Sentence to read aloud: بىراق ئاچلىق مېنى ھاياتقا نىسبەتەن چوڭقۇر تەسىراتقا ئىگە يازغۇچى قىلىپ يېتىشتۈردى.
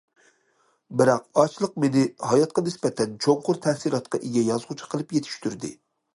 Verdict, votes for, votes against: accepted, 2, 0